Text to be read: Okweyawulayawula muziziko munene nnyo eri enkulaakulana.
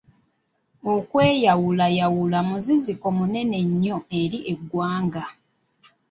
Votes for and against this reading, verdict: 1, 2, rejected